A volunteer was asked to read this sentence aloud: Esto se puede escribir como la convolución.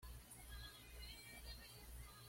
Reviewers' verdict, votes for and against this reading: rejected, 1, 2